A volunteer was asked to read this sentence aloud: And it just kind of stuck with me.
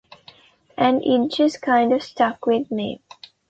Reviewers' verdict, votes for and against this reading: rejected, 0, 2